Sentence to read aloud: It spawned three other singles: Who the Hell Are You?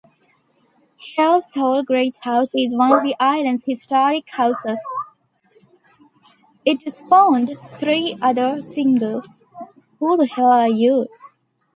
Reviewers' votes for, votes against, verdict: 0, 2, rejected